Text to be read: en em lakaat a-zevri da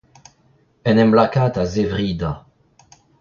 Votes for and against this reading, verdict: 2, 0, accepted